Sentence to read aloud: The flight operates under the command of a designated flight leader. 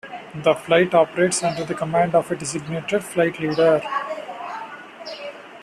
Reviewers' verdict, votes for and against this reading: accepted, 2, 1